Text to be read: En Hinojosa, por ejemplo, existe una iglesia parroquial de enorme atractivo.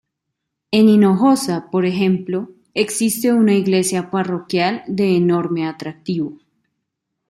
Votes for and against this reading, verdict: 2, 0, accepted